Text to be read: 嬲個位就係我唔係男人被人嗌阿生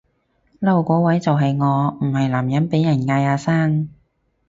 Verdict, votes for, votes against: rejected, 2, 4